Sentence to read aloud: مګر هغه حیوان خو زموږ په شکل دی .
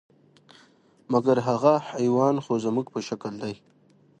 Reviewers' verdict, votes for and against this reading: rejected, 1, 2